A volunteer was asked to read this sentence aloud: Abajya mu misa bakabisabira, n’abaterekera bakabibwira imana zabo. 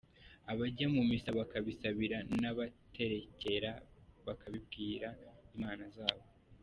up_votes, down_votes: 2, 0